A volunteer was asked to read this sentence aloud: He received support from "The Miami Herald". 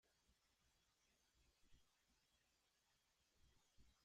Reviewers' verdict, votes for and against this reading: rejected, 1, 2